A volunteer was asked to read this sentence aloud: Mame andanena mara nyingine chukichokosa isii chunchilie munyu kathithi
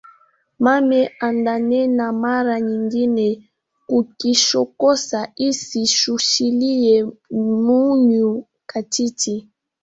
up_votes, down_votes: 1, 2